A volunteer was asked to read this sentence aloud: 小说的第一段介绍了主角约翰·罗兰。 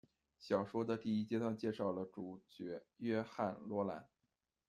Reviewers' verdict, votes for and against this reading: rejected, 1, 2